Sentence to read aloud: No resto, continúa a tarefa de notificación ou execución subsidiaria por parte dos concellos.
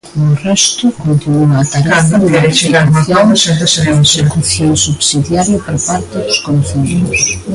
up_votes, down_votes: 0, 2